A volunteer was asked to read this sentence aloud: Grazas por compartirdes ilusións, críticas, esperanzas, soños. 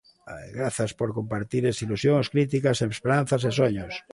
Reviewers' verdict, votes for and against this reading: rejected, 0, 2